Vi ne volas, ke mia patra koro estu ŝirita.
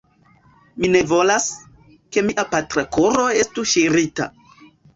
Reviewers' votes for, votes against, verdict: 2, 1, accepted